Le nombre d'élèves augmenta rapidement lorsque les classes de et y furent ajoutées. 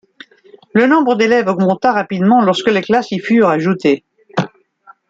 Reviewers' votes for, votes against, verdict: 0, 2, rejected